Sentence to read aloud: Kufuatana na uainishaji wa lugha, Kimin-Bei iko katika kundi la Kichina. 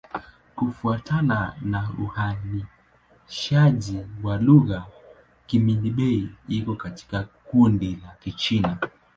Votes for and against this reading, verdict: 2, 0, accepted